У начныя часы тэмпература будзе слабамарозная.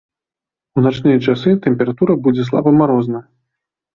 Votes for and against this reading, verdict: 0, 2, rejected